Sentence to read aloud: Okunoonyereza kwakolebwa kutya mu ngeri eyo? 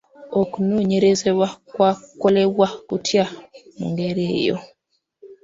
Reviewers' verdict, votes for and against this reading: rejected, 1, 3